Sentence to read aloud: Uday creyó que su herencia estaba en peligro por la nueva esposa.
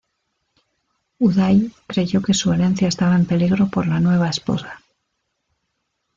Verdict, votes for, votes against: accepted, 2, 0